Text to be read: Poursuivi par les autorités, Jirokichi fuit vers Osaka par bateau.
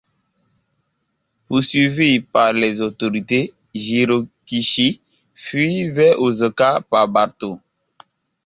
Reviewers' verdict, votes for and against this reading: accepted, 2, 1